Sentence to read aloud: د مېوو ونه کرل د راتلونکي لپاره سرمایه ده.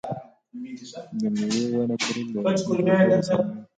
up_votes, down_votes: 1, 2